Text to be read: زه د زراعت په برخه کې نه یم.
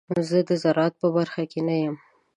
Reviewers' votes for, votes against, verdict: 2, 0, accepted